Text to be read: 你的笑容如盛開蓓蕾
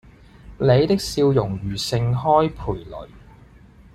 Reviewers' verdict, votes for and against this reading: accepted, 2, 0